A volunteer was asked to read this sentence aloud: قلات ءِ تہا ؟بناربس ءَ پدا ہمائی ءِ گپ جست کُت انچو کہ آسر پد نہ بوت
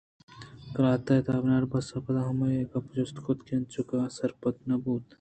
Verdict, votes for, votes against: accepted, 2, 0